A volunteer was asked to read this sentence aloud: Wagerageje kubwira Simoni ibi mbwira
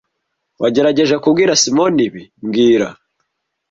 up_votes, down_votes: 2, 0